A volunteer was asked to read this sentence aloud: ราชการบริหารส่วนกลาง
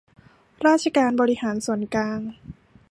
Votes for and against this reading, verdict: 2, 0, accepted